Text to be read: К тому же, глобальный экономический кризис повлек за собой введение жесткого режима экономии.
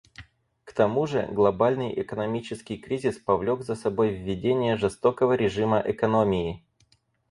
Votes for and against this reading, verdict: 2, 4, rejected